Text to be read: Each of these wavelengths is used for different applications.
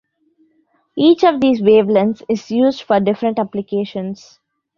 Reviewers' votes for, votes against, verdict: 2, 0, accepted